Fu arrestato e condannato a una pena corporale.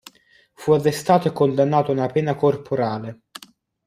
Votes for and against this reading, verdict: 2, 0, accepted